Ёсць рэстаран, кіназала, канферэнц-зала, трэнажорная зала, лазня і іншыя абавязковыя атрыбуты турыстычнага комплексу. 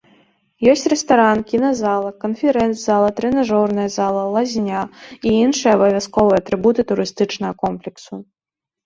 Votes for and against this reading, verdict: 1, 2, rejected